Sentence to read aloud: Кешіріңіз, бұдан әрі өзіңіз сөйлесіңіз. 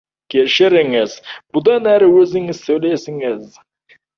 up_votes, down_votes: 2, 1